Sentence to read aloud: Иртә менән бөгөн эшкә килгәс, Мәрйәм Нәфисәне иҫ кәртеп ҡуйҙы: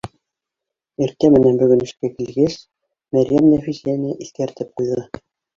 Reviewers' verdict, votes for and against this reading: rejected, 0, 2